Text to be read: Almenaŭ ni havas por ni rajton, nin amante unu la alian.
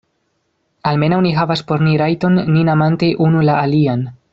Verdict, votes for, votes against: accepted, 2, 0